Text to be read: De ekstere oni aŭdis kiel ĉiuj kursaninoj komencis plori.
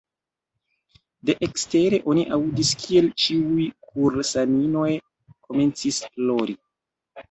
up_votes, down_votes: 2, 0